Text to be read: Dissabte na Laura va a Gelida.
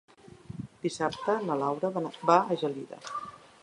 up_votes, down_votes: 1, 2